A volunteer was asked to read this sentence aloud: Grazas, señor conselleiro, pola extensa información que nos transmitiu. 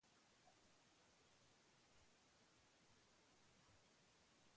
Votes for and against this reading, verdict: 0, 2, rejected